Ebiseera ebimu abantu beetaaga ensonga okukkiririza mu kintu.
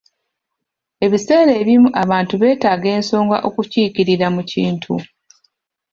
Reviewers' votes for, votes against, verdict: 0, 2, rejected